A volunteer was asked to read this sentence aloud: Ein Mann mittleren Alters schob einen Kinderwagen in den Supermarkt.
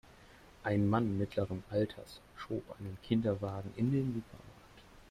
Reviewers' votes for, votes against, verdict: 0, 2, rejected